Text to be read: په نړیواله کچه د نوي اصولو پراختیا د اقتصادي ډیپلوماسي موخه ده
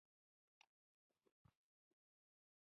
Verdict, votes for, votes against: rejected, 0, 2